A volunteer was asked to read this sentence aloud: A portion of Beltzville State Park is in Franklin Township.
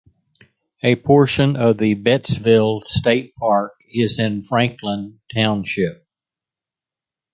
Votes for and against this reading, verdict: 1, 2, rejected